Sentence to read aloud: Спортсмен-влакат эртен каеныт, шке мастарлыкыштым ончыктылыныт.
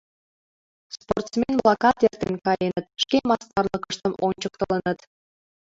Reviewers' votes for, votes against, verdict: 0, 2, rejected